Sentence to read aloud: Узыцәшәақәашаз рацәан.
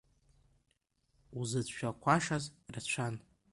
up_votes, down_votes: 2, 0